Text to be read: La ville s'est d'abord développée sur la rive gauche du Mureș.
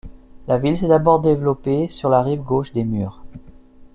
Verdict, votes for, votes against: rejected, 0, 2